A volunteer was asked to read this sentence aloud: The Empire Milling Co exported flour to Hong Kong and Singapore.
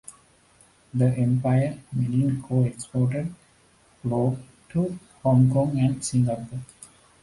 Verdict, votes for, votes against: accepted, 2, 0